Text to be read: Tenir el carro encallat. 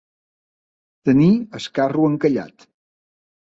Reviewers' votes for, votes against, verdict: 2, 0, accepted